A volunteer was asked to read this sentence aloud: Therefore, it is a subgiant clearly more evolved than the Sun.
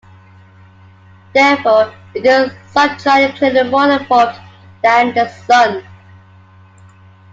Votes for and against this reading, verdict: 2, 0, accepted